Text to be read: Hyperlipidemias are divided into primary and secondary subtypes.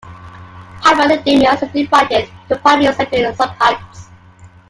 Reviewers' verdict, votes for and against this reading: rejected, 0, 2